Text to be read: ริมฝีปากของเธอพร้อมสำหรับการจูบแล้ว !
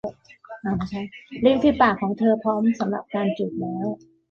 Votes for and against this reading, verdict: 1, 2, rejected